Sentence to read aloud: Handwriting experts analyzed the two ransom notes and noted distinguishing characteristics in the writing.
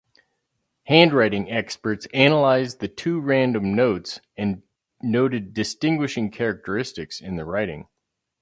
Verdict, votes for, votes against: rejected, 0, 2